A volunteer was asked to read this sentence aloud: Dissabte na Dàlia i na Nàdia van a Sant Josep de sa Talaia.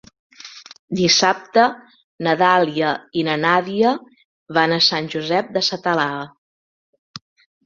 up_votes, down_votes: 0, 2